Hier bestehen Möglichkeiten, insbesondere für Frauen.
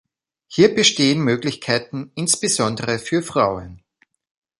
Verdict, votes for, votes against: accepted, 2, 0